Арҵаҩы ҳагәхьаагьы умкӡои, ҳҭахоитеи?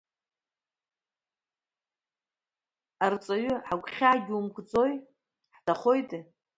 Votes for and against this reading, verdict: 1, 2, rejected